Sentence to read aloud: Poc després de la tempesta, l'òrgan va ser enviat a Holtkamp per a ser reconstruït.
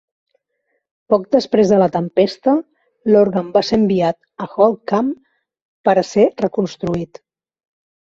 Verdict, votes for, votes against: rejected, 1, 2